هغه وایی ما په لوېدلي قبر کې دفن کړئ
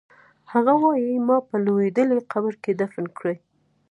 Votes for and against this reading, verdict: 2, 0, accepted